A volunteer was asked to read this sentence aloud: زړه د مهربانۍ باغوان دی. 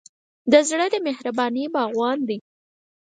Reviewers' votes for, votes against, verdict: 6, 0, accepted